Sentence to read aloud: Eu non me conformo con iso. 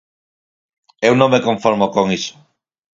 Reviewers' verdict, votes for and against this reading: accepted, 4, 2